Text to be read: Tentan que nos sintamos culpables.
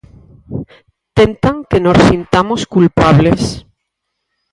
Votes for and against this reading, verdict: 0, 4, rejected